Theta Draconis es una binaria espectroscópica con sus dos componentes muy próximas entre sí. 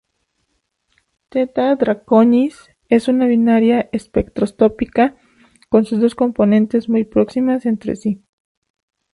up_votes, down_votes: 0, 2